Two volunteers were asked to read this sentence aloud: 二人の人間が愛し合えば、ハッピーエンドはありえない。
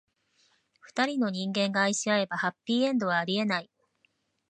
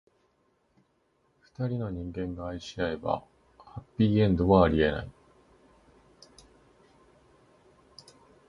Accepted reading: first